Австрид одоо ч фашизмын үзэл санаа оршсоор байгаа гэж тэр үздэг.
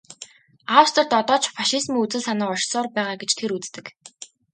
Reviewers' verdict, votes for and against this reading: accepted, 2, 0